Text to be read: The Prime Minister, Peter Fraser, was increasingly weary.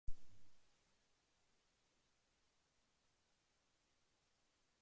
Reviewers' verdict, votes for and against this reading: rejected, 0, 2